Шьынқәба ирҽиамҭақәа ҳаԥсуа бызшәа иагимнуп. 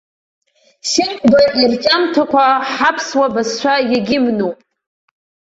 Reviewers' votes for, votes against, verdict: 0, 2, rejected